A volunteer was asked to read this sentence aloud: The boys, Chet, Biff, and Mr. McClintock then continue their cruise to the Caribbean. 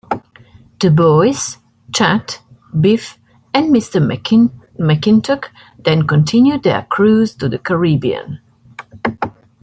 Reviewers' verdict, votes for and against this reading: accepted, 2, 0